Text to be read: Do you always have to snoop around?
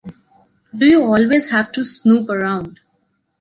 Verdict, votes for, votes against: accepted, 2, 0